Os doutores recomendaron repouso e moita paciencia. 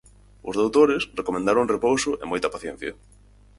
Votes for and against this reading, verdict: 4, 0, accepted